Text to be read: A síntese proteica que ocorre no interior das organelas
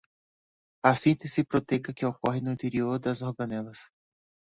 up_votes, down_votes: 2, 0